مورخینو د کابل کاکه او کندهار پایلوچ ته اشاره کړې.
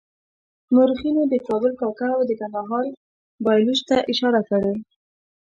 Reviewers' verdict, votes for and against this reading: accepted, 2, 0